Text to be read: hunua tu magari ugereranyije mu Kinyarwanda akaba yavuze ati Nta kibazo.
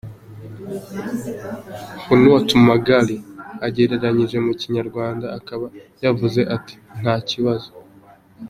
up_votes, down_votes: 1, 2